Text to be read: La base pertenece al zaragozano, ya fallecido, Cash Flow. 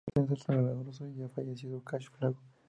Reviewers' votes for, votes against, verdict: 0, 2, rejected